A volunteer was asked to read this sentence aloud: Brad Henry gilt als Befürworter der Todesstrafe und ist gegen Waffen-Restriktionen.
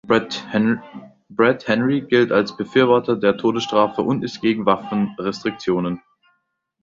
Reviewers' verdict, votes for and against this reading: rejected, 0, 2